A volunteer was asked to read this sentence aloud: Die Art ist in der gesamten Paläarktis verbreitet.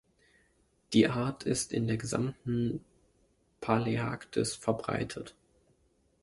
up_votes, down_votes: 1, 2